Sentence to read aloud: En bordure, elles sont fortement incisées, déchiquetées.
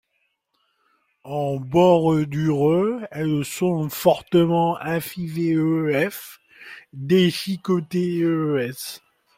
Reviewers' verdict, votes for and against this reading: rejected, 1, 2